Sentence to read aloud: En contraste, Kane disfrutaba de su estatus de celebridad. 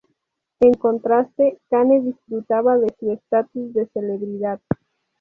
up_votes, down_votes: 2, 0